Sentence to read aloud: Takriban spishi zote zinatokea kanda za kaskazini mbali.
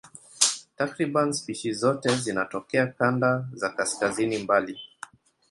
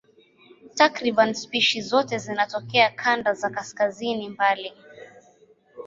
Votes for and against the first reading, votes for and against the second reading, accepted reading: 1, 2, 2, 0, second